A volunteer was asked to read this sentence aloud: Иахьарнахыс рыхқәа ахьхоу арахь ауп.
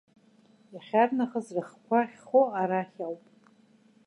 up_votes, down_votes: 2, 0